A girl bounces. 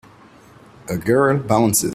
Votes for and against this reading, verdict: 0, 2, rejected